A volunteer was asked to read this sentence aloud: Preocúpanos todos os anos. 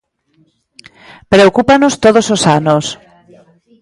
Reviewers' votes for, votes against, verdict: 2, 1, accepted